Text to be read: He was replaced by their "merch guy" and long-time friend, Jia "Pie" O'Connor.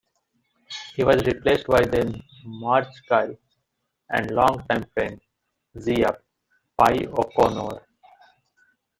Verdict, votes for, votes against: rejected, 1, 2